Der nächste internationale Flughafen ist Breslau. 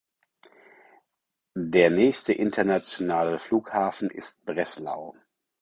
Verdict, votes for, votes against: accepted, 4, 0